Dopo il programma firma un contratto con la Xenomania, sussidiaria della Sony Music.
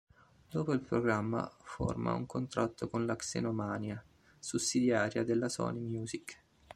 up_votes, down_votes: 1, 2